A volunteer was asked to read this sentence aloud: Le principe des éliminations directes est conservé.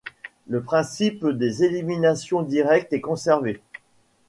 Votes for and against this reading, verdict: 2, 0, accepted